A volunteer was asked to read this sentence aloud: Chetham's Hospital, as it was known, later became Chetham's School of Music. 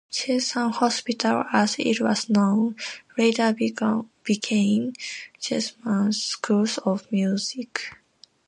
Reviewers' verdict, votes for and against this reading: accepted, 2, 1